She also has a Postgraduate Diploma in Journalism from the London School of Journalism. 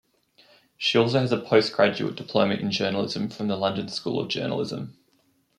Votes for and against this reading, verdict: 2, 1, accepted